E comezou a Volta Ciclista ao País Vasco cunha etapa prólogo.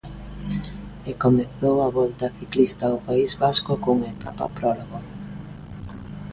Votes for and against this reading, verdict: 2, 0, accepted